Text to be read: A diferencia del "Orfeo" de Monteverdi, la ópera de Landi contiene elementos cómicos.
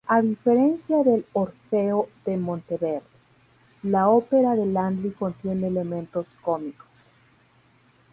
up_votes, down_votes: 2, 2